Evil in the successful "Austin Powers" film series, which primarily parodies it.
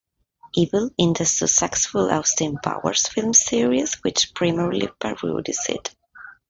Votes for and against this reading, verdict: 1, 2, rejected